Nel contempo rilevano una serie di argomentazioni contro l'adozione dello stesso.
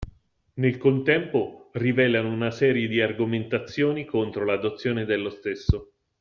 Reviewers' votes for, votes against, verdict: 1, 2, rejected